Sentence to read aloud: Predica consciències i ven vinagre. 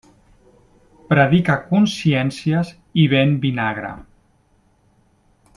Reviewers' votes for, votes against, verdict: 2, 0, accepted